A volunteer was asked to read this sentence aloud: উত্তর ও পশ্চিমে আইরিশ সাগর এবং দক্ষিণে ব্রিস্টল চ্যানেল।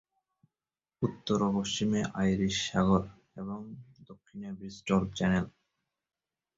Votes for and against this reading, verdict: 0, 2, rejected